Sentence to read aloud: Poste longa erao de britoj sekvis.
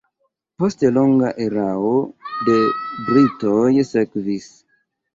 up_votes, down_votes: 3, 2